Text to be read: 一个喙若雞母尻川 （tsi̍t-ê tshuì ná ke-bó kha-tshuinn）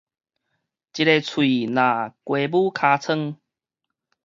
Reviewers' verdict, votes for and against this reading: rejected, 0, 4